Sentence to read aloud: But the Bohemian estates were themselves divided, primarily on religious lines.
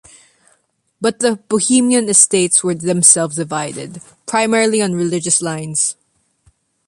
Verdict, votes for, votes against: accepted, 2, 0